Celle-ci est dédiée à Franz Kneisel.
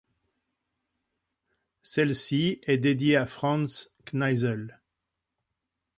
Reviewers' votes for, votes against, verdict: 2, 0, accepted